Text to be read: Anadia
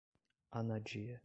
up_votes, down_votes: 0, 2